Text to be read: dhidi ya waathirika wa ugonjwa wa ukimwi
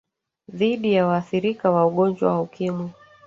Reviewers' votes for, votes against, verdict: 1, 2, rejected